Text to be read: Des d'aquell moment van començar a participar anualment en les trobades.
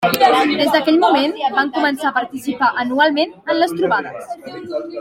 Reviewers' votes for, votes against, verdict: 3, 1, accepted